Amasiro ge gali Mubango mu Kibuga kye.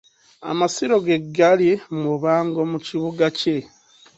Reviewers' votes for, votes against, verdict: 2, 0, accepted